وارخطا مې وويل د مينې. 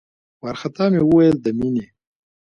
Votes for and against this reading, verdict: 0, 2, rejected